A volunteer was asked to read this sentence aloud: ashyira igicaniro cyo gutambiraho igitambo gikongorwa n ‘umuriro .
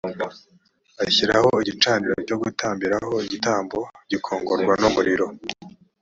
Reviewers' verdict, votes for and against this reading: rejected, 1, 3